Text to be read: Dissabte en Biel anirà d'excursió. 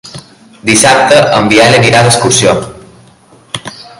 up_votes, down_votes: 3, 1